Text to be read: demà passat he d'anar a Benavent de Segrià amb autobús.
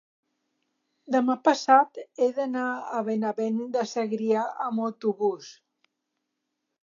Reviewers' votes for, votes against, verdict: 3, 0, accepted